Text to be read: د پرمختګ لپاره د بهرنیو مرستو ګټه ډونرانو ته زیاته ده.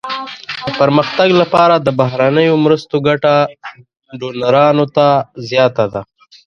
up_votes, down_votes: 2, 0